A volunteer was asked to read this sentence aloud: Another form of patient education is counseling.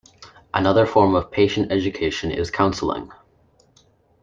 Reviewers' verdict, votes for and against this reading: accepted, 2, 0